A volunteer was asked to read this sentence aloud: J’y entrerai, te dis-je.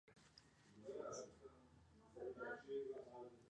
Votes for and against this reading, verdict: 0, 2, rejected